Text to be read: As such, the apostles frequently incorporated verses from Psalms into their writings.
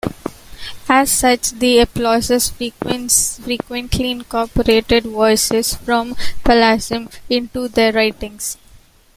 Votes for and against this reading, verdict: 1, 2, rejected